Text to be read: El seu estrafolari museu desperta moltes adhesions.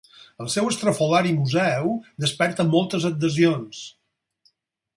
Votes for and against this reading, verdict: 4, 0, accepted